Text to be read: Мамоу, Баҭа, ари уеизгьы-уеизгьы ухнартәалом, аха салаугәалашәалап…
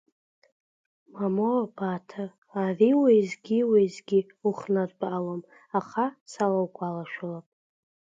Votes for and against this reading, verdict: 12, 3, accepted